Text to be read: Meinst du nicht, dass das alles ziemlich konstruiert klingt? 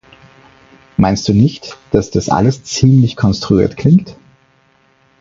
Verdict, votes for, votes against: accepted, 4, 0